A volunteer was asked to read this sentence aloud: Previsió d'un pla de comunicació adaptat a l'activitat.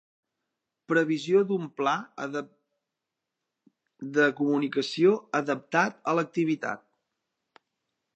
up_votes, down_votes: 0, 2